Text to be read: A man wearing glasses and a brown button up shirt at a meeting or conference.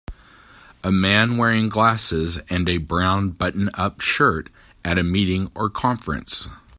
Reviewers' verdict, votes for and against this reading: accepted, 2, 0